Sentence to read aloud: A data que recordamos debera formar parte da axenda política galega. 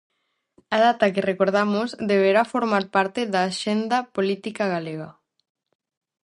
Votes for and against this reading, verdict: 2, 2, rejected